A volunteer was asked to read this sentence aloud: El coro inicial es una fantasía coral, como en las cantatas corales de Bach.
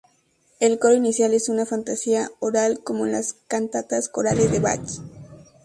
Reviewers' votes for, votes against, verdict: 0, 2, rejected